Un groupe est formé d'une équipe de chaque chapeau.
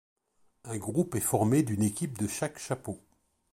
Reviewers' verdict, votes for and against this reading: accepted, 2, 0